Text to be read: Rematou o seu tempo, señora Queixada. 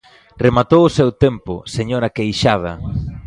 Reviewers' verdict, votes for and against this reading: rejected, 1, 2